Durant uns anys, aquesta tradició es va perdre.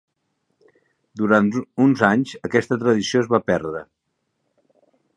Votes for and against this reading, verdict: 1, 2, rejected